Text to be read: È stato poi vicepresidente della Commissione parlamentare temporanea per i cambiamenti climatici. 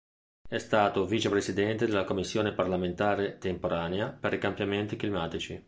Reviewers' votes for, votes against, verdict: 1, 4, rejected